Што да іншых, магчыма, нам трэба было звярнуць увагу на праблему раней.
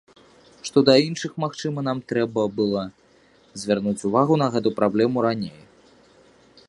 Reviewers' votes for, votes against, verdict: 1, 2, rejected